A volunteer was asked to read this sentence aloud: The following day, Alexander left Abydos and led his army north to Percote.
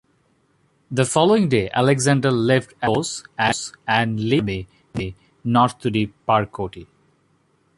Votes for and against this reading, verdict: 2, 0, accepted